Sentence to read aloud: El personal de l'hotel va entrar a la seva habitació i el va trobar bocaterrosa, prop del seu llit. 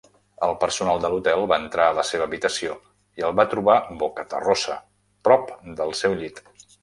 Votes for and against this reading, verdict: 0, 2, rejected